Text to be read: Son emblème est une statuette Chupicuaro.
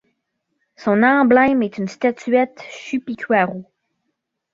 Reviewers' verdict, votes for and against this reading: rejected, 1, 2